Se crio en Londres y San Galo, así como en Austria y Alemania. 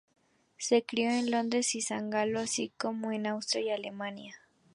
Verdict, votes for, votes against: accepted, 2, 0